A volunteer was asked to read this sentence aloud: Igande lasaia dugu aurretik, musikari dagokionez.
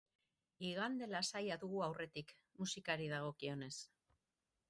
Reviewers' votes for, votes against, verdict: 9, 0, accepted